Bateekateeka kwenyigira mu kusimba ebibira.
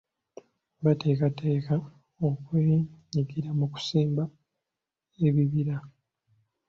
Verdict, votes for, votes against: accepted, 2, 1